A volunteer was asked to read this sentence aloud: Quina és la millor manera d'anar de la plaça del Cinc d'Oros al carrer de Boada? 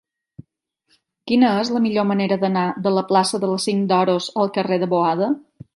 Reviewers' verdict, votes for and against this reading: accepted, 4, 0